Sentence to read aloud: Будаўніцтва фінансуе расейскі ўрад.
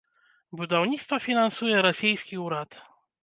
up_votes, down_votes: 2, 0